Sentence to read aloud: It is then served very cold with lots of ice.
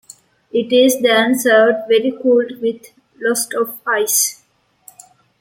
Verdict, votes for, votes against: rejected, 1, 2